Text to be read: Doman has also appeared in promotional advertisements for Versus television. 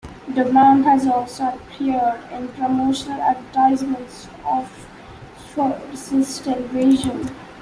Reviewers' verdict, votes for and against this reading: accepted, 2, 1